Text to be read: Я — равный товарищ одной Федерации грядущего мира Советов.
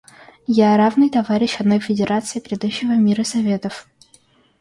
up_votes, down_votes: 2, 1